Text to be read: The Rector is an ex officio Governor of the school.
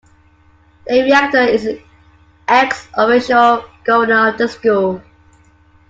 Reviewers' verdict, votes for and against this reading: accepted, 2, 0